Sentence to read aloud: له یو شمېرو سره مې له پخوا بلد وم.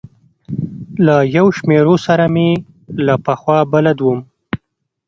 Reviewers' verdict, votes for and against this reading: rejected, 1, 2